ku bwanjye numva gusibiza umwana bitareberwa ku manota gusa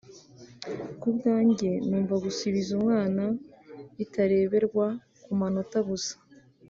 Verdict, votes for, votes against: accepted, 2, 0